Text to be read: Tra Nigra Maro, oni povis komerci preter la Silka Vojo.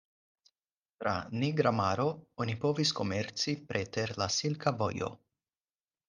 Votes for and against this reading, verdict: 4, 0, accepted